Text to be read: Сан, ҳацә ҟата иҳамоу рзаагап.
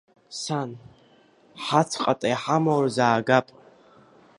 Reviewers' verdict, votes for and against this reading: accepted, 2, 0